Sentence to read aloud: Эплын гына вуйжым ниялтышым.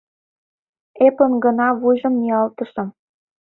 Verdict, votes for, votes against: rejected, 1, 2